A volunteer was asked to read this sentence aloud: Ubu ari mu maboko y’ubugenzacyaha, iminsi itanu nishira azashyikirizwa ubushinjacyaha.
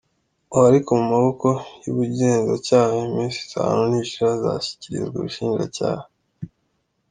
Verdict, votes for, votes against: accepted, 2, 1